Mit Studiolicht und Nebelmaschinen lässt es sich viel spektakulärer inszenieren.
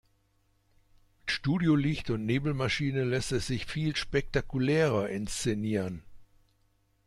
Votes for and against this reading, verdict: 0, 2, rejected